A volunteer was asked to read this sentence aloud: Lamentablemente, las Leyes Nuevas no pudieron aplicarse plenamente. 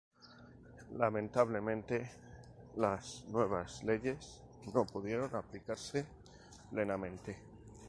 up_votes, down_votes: 0, 2